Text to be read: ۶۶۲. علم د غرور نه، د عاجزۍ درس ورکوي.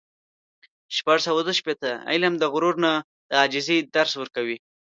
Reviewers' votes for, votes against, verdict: 0, 2, rejected